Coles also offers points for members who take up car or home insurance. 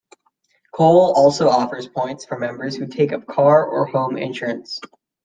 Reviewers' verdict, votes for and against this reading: rejected, 1, 2